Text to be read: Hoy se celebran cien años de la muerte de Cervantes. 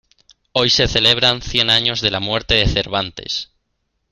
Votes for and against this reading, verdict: 2, 0, accepted